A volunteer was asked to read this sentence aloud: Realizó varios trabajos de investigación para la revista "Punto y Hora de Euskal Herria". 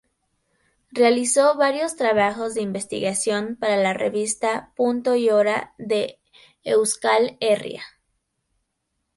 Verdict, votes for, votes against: accepted, 4, 0